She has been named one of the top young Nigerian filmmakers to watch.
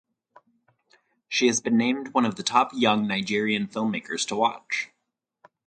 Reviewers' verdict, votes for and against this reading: rejected, 2, 2